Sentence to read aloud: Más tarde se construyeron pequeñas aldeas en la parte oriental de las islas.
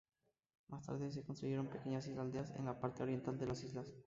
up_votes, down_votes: 0, 4